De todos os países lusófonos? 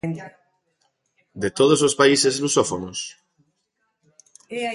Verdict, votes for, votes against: rejected, 1, 2